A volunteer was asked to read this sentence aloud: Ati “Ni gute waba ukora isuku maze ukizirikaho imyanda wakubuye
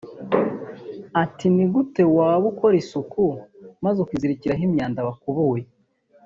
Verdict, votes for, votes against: rejected, 0, 2